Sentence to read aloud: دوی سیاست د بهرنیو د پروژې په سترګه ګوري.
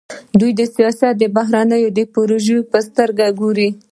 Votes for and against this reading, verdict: 2, 1, accepted